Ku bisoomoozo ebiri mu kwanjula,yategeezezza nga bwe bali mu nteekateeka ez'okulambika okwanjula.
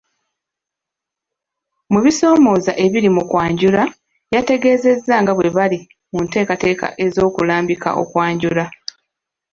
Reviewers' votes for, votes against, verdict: 0, 2, rejected